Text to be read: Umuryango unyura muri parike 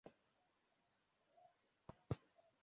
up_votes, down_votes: 0, 2